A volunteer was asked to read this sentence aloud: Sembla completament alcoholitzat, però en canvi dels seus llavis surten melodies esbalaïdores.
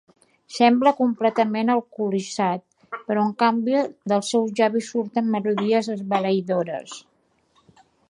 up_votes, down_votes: 2, 1